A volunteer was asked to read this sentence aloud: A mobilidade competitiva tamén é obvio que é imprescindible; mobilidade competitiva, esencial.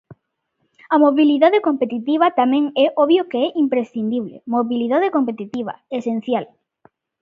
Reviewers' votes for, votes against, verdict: 2, 0, accepted